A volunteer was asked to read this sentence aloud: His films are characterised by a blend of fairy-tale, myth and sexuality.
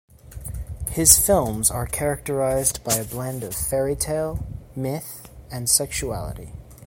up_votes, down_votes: 2, 0